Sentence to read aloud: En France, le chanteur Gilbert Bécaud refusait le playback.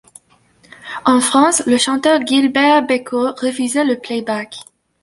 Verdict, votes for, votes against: rejected, 0, 2